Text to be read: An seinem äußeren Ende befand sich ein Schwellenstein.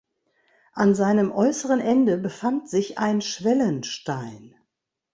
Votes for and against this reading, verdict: 2, 0, accepted